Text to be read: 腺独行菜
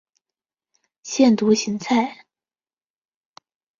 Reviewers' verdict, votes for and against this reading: accepted, 2, 0